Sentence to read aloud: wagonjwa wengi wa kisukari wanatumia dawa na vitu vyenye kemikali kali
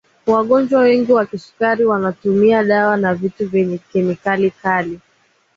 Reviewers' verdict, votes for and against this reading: accepted, 3, 0